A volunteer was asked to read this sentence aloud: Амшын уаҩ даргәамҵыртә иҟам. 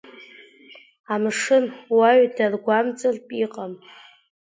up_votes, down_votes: 2, 0